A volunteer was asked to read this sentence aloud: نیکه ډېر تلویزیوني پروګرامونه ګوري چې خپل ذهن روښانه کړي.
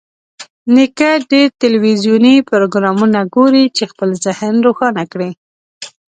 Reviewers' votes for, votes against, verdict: 2, 0, accepted